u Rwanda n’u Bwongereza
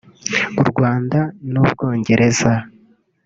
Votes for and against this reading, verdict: 2, 0, accepted